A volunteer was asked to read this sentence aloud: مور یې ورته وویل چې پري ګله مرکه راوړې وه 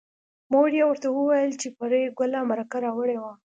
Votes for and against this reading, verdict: 2, 0, accepted